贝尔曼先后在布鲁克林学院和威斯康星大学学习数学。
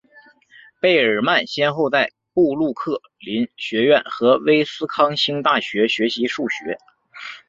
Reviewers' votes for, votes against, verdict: 9, 0, accepted